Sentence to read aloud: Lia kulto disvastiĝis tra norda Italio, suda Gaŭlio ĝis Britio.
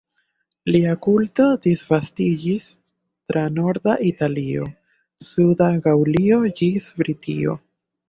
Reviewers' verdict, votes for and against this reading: accepted, 3, 1